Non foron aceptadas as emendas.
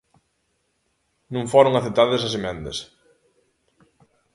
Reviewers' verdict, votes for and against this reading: accepted, 2, 0